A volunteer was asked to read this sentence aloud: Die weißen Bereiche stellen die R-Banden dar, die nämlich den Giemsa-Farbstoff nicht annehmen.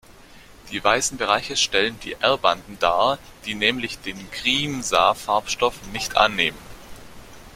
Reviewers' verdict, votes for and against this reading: rejected, 0, 2